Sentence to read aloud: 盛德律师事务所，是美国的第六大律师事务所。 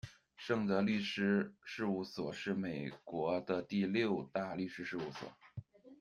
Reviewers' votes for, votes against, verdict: 2, 0, accepted